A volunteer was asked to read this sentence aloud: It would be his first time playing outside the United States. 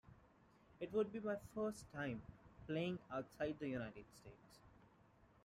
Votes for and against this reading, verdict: 1, 2, rejected